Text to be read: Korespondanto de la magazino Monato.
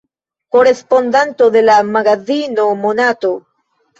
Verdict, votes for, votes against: rejected, 1, 2